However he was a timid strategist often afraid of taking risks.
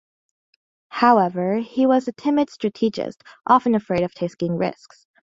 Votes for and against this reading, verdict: 1, 2, rejected